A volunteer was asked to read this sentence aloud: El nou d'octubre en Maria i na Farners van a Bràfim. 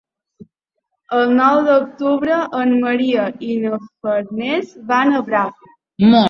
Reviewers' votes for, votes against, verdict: 0, 2, rejected